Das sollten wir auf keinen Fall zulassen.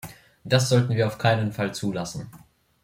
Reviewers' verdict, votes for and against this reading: accepted, 2, 0